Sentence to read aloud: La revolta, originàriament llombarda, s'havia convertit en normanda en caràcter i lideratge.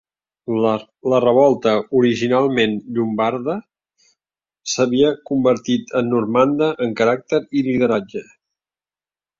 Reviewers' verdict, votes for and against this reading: rejected, 1, 2